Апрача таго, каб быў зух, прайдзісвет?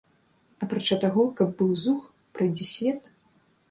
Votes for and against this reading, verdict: 2, 0, accepted